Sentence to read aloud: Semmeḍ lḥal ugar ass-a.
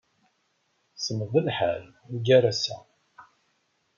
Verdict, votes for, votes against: accepted, 2, 0